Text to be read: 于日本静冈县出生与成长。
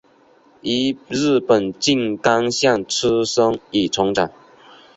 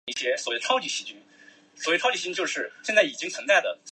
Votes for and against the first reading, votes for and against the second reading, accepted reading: 2, 0, 0, 5, first